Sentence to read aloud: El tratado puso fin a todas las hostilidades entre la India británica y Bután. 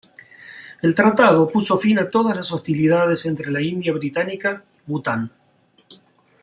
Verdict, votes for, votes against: rejected, 0, 2